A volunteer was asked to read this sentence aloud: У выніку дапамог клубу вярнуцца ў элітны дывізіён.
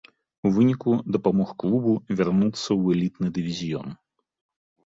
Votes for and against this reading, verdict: 2, 0, accepted